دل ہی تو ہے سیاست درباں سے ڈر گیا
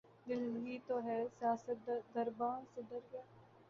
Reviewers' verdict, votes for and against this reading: accepted, 3, 0